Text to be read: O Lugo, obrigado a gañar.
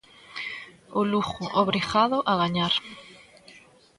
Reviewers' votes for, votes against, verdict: 1, 2, rejected